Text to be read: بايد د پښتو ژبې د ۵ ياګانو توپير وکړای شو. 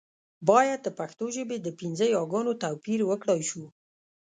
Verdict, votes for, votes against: rejected, 0, 2